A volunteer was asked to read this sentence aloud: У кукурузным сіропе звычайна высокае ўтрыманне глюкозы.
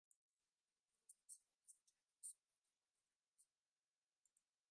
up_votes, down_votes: 0, 2